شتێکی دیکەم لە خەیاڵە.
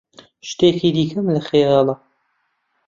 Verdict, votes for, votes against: accepted, 2, 0